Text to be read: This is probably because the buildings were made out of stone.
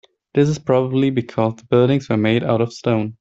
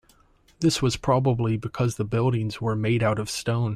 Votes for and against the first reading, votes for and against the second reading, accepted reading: 0, 2, 2, 1, second